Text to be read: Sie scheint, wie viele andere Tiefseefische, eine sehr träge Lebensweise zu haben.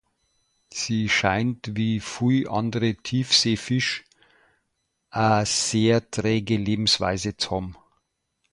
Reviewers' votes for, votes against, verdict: 1, 2, rejected